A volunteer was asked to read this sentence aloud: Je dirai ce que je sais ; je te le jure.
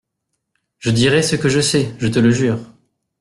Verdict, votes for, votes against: accepted, 2, 0